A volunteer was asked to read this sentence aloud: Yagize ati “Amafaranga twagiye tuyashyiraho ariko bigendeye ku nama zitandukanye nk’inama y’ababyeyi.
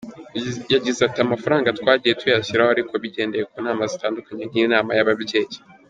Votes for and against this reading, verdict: 2, 1, accepted